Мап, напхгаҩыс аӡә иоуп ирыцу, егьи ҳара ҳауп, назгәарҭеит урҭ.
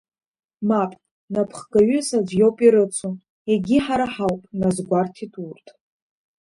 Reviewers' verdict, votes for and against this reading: accepted, 2, 0